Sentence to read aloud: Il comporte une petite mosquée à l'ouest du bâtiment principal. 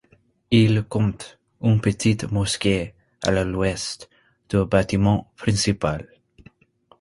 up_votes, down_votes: 1, 2